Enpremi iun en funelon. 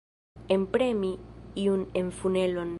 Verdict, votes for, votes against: rejected, 1, 2